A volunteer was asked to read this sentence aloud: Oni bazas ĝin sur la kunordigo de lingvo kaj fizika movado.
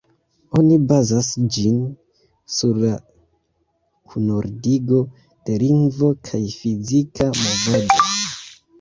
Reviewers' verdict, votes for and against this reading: rejected, 1, 2